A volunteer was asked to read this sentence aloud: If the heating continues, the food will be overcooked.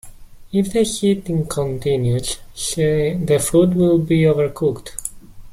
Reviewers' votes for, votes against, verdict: 0, 2, rejected